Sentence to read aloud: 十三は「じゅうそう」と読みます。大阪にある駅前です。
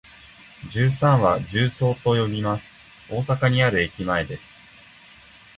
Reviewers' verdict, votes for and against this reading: rejected, 1, 2